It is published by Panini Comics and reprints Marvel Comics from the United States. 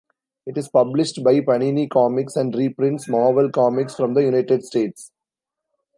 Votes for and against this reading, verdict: 0, 2, rejected